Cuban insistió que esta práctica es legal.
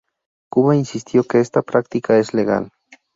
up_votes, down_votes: 0, 2